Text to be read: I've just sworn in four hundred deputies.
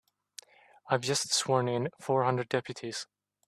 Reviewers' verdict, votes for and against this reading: accepted, 2, 0